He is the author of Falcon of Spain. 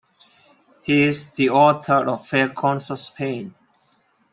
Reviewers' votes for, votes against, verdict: 0, 2, rejected